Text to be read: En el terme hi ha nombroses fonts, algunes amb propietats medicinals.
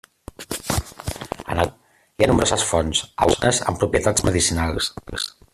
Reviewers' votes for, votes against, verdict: 0, 2, rejected